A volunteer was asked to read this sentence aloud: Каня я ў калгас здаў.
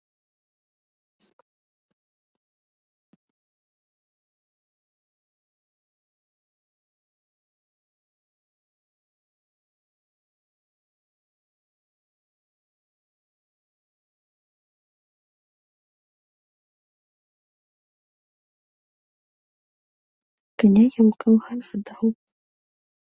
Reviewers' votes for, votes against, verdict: 0, 2, rejected